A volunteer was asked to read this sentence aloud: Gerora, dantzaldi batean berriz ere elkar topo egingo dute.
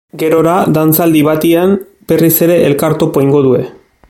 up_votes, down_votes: 1, 2